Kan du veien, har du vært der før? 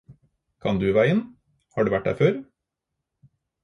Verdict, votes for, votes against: accepted, 4, 0